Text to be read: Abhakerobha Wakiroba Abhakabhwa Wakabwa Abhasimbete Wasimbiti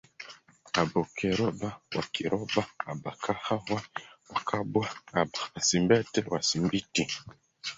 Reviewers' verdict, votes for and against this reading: rejected, 0, 4